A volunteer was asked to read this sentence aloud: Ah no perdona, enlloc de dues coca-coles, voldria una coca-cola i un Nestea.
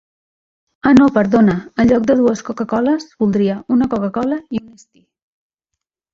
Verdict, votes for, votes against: rejected, 0, 2